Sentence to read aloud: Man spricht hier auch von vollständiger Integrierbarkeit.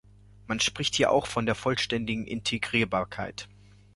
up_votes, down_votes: 0, 2